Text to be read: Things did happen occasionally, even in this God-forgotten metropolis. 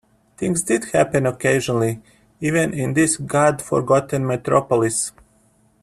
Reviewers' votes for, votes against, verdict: 2, 1, accepted